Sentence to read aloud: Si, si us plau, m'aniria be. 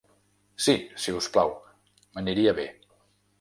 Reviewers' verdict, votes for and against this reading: accepted, 3, 0